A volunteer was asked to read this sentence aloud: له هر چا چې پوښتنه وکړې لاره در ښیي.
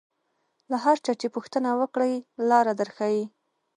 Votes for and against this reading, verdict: 2, 0, accepted